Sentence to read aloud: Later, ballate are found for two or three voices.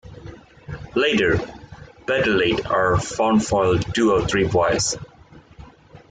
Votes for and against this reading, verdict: 0, 3, rejected